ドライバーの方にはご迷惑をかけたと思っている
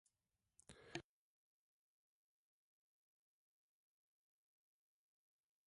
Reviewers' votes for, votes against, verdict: 1, 2, rejected